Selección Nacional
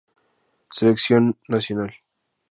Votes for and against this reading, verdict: 2, 0, accepted